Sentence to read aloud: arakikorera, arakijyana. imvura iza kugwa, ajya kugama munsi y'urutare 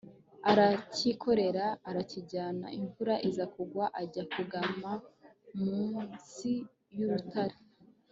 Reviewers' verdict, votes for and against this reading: accepted, 2, 0